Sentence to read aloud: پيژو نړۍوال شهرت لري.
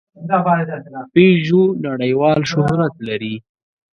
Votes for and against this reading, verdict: 0, 4, rejected